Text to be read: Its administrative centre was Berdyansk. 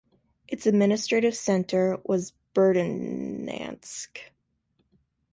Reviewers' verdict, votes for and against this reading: rejected, 0, 2